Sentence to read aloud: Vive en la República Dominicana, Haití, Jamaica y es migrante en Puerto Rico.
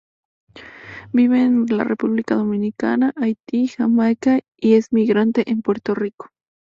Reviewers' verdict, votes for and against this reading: accepted, 2, 0